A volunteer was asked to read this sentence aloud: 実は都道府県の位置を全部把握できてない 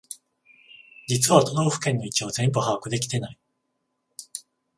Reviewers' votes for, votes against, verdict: 14, 0, accepted